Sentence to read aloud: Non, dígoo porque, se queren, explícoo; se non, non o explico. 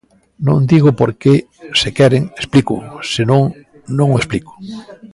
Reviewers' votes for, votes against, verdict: 2, 0, accepted